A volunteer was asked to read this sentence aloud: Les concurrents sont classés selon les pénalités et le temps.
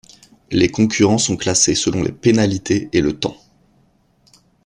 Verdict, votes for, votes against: accepted, 2, 0